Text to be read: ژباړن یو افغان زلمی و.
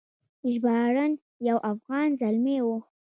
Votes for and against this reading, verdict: 0, 2, rejected